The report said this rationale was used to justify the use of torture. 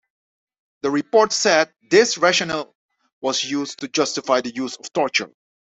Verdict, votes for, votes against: accepted, 2, 0